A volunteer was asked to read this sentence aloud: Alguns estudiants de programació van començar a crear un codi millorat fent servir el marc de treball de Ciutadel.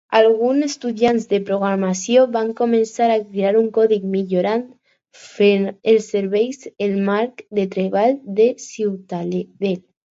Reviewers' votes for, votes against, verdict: 0, 2, rejected